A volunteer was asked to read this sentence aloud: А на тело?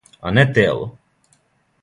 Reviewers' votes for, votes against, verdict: 0, 2, rejected